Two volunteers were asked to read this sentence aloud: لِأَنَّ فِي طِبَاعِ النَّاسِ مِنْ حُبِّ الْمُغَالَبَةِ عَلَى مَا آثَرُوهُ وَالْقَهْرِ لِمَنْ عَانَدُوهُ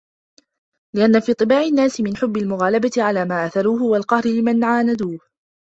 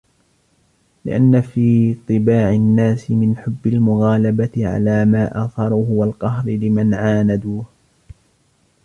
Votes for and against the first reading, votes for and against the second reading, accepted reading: 2, 0, 1, 2, first